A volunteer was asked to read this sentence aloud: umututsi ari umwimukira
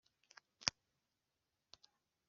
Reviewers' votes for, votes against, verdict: 2, 1, accepted